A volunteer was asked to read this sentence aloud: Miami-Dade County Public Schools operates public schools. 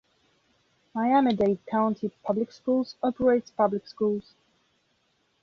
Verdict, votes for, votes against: accepted, 2, 0